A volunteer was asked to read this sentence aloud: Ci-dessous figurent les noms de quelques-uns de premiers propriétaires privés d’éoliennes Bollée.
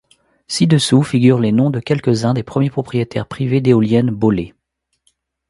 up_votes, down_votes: 1, 2